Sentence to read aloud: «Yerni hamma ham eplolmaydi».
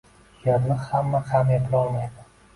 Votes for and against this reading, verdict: 2, 1, accepted